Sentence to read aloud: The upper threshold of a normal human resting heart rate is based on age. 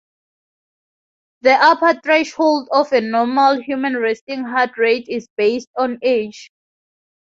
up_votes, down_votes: 0, 2